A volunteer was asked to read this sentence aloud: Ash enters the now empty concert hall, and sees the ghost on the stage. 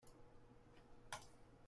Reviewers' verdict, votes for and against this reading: rejected, 0, 2